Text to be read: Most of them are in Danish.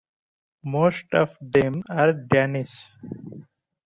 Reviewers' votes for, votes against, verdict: 1, 2, rejected